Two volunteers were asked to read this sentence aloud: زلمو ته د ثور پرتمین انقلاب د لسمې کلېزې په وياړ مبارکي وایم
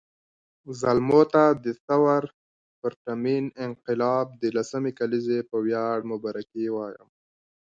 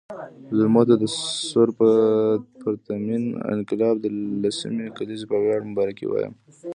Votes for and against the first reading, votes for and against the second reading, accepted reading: 2, 1, 1, 2, first